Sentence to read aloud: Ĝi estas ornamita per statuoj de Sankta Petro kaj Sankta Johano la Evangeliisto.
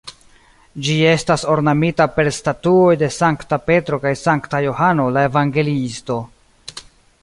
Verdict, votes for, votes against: rejected, 1, 2